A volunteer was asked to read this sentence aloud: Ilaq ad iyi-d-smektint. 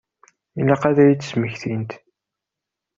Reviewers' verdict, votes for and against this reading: accepted, 4, 0